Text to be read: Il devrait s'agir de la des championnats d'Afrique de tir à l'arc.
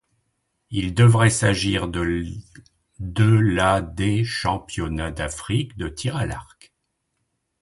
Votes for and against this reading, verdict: 1, 2, rejected